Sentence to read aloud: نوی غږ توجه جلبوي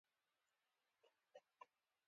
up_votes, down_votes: 1, 2